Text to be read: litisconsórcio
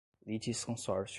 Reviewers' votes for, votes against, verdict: 2, 0, accepted